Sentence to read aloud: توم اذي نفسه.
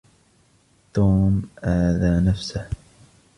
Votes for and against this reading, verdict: 0, 2, rejected